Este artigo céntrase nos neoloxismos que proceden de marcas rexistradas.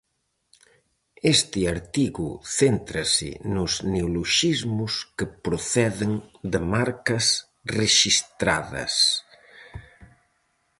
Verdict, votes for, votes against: accepted, 4, 0